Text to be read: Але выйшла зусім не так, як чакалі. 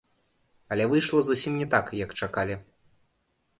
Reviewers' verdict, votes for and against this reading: rejected, 1, 2